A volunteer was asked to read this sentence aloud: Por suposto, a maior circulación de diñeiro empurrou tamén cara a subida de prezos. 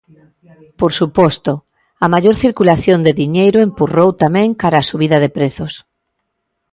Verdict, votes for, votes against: accepted, 2, 0